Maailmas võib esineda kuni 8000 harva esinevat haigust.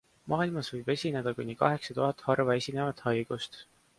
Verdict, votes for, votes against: rejected, 0, 2